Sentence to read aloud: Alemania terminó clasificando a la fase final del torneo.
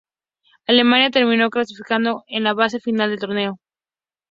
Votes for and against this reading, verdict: 2, 0, accepted